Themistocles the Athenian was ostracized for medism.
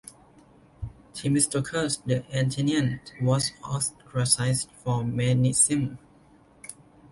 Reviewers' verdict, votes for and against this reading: rejected, 1, 2